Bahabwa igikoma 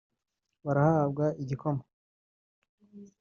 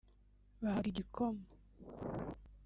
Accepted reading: second